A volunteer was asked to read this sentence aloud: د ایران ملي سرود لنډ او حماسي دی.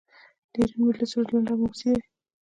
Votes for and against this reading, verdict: 2, 1, accepted